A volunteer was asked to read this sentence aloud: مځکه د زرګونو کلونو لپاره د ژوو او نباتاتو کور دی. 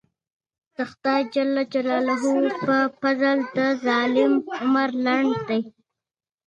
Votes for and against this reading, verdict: 0, 2, rejected